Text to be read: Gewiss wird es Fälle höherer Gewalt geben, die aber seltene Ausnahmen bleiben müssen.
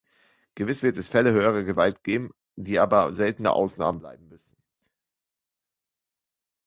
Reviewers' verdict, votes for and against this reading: accepted, 2, 1